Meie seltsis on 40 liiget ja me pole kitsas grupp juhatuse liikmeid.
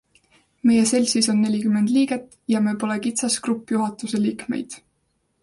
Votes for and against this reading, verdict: 0, 2, rejected